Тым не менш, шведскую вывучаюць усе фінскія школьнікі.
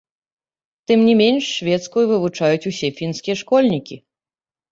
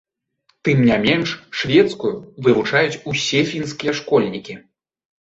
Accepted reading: second